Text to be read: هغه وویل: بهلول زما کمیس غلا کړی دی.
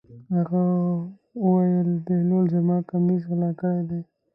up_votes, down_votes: 1, 2